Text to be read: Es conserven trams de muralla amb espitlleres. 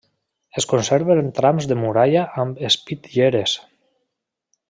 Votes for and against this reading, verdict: 2, 0, accepted